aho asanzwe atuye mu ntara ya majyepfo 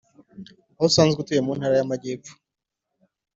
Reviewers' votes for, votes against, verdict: 3, 0, accepted